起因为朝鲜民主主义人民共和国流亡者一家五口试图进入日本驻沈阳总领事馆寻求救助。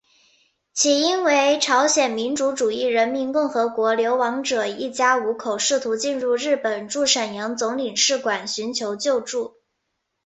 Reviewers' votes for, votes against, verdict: 4, 0, accepted